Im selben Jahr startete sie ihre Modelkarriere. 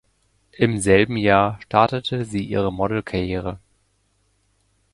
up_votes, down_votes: 2, 0